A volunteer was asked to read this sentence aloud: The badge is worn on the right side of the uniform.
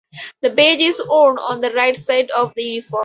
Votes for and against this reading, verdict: 2, 2, rejected